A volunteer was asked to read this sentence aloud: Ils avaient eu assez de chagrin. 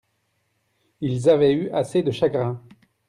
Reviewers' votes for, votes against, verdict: 2, 0, accepted